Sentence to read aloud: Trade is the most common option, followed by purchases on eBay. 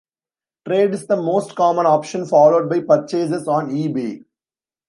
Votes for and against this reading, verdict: 2, 0, accepted